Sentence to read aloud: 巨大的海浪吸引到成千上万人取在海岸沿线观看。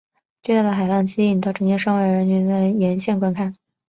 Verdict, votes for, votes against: rejected, 0, 3